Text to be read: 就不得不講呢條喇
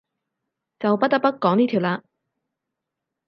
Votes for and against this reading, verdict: 6, 0, accepted